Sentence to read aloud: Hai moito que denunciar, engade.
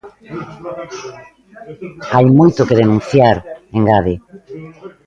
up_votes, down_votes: 0, 2